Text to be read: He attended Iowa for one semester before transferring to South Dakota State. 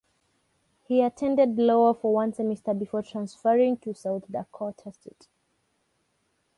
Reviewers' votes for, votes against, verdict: 0, 3, rejected